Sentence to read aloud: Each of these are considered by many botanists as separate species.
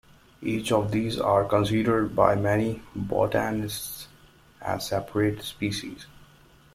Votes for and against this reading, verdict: 2, 0, accepted